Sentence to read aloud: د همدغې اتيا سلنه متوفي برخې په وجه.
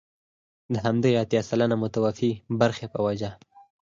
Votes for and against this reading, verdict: 2, 4, rejected